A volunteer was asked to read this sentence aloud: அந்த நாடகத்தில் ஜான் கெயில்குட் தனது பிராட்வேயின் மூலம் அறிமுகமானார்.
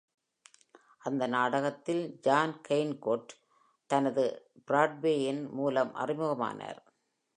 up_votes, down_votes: 0, 2